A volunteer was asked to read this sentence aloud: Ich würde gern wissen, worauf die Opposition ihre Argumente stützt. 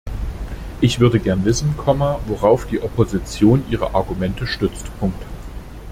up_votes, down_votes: 0, 2